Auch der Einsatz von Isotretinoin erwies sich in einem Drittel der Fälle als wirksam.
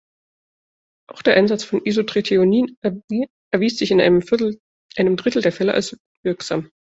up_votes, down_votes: 0, 2